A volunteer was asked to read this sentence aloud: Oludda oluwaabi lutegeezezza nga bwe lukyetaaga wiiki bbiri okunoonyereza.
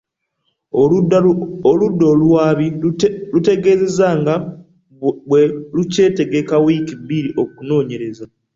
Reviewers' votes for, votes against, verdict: 1, 2, rejected